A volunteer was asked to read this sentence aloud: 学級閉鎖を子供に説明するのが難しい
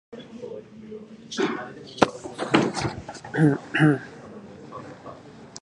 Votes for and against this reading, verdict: 0, 2, rejected